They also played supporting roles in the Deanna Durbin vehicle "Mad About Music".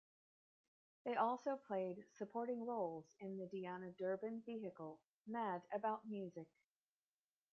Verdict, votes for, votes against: rejected, 0, 2